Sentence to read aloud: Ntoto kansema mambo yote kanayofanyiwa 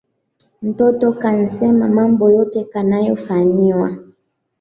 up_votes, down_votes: 2, 1